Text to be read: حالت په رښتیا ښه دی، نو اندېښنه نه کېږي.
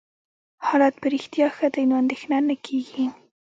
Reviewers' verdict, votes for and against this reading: accepted, 2, 0